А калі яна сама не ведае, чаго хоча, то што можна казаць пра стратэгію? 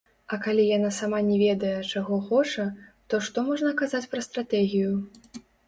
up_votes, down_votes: 0, 2